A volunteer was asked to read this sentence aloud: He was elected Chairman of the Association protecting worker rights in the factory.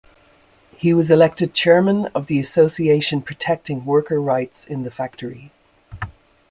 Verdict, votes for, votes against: accepted, 2, 0